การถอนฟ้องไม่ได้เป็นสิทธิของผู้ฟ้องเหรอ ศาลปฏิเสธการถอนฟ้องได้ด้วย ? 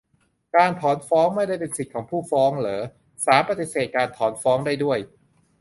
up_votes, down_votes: 1, 2